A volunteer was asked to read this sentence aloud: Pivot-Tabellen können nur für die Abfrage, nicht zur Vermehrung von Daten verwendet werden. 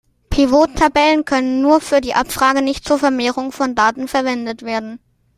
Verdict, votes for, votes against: accepted, 2, 0